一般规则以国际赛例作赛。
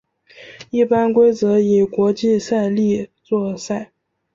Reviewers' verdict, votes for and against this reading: accepted, 2, 0